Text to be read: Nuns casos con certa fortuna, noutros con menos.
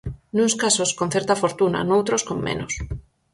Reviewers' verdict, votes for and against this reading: accepted, 4, 0